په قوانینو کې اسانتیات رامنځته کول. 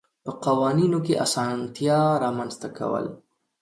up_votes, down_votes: 2, 0